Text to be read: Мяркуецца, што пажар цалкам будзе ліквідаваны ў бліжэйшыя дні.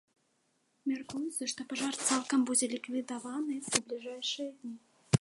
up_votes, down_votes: 1, 2